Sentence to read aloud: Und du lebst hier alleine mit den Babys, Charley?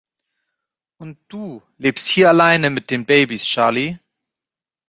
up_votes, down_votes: 2, 0